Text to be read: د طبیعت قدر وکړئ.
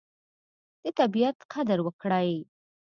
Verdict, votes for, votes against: accepted, 2, 0